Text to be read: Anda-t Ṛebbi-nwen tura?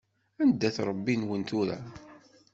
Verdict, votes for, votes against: accepted, 2, 0